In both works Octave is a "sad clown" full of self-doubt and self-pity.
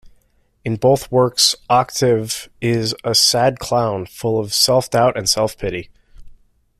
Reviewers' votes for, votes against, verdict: 2, 0, accepted